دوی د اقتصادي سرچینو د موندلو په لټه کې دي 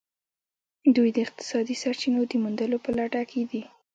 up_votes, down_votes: 1, 2